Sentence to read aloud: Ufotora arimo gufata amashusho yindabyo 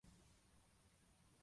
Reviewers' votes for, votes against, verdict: 0, 2, rejected